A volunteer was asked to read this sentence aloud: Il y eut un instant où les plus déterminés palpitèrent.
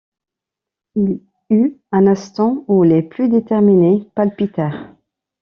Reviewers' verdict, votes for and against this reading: rejected, 0, 2